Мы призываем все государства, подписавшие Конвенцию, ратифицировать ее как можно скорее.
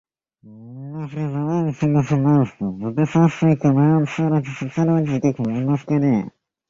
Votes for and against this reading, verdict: 0, 2, rejected